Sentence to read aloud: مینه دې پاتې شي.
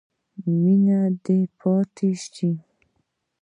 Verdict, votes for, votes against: rejected, 0, 2